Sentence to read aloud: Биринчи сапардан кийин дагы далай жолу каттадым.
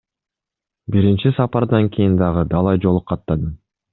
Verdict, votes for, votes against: accepted, 2, 0